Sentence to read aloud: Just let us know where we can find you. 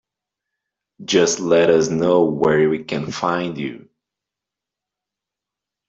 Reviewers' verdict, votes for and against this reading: accepted, 2, 1